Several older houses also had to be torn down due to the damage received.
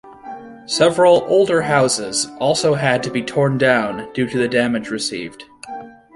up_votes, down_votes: 0, 2